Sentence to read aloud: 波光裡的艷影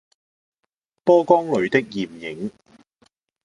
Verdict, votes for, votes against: accepted, 2, 0